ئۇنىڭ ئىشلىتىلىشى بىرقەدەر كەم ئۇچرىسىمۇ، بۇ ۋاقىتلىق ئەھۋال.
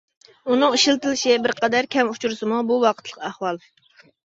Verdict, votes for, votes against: accepted, 2, 0